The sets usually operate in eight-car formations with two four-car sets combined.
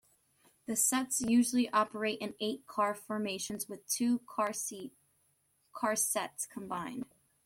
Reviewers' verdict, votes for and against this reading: rejected, 0, 2